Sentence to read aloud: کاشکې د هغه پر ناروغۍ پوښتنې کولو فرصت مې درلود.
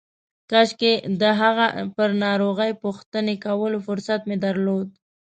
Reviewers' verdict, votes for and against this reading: accepted, 2, 0